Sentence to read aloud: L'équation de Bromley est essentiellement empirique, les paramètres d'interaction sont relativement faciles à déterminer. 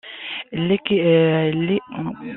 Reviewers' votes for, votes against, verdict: 0, 2, rejected